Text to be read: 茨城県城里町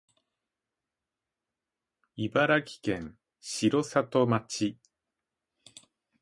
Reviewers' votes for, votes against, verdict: 0, 2, rejected